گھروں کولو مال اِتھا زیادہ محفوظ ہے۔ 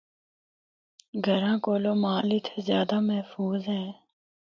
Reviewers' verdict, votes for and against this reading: accepted, 2, 0